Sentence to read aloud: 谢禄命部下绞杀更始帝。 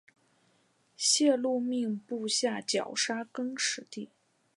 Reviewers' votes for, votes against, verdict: 2, 0, accepted